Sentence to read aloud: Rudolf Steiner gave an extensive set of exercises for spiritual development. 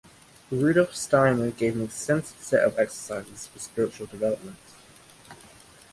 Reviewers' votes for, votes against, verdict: 2, 1, accepted